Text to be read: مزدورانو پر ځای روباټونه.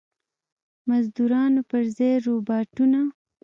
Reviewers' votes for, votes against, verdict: 0, 2, rejected